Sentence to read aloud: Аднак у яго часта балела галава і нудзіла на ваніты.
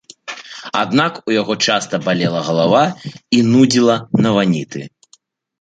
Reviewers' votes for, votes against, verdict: 2, 0, accepted